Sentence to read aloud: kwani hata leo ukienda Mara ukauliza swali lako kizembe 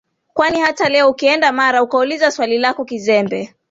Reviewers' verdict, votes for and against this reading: accepted, 2, 1